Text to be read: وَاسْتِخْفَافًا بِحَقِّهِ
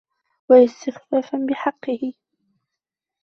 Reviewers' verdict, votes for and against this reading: rejected, 1, 2